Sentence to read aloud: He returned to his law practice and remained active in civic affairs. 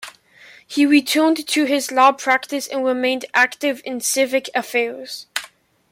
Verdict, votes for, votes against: rejected, 1, 2